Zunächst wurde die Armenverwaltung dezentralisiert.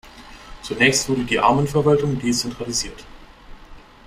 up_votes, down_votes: 2, 1